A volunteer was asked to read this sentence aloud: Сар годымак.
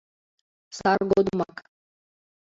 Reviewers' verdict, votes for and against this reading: rejected, 0, 2